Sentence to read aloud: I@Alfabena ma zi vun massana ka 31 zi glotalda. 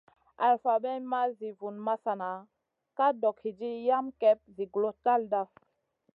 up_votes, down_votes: 0, 2